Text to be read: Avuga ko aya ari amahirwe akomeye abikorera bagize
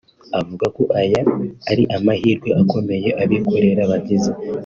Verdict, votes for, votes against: accepted, 2, 0